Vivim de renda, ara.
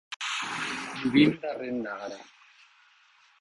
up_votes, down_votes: 1, 2